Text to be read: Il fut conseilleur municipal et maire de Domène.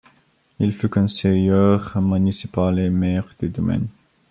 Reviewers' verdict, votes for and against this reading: accepted, 2, 1